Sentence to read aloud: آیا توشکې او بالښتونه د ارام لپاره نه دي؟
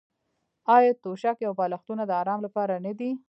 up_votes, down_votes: 0, 2